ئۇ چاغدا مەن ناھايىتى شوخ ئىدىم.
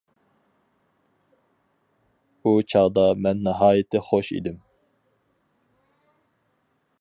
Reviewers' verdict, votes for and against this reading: rejected, 0, 4